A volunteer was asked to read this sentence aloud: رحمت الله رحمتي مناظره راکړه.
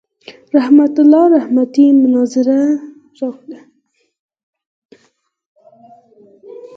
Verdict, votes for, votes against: rejected, 2, 4